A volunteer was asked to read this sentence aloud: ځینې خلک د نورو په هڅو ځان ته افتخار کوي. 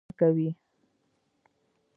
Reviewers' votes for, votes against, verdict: 1, 2, rejected